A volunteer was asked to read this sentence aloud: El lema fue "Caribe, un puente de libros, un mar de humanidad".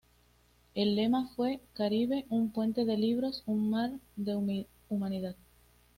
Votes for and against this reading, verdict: 1, 2, rejected